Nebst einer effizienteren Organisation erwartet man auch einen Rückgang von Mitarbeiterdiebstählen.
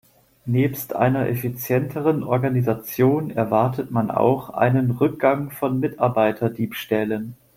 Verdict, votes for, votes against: accepted, 2, 0